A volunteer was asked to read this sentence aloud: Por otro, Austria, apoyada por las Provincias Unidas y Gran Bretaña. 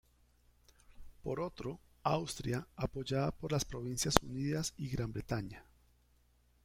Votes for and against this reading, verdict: 0, 2, rejected